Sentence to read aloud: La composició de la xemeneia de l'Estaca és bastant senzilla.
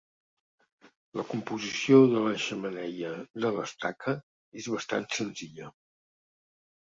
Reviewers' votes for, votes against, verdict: 2, 0, accepted